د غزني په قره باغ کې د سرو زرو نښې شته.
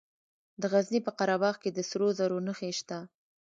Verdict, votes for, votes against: accepted, 2, 1